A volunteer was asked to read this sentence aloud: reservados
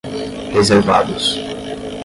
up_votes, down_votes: 5, 0